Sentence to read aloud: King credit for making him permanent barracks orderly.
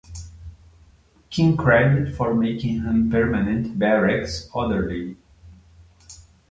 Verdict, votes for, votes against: accepted, 2, 0